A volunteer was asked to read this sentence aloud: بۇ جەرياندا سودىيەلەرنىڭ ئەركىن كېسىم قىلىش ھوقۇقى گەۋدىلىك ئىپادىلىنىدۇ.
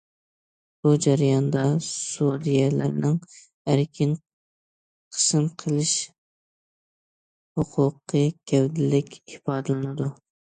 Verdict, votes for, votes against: rejected, 0, 2